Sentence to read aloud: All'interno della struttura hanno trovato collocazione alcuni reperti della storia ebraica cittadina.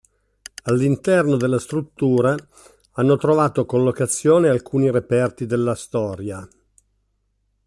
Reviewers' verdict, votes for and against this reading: rejected, 0, 2